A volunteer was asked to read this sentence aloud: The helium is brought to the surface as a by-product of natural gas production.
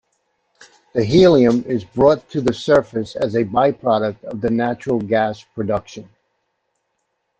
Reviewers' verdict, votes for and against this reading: rejected, 0, 2